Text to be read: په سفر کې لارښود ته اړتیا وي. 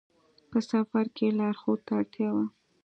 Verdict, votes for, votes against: accepted, 2, 0